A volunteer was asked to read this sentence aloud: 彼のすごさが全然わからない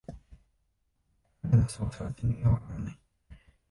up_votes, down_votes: 1, 2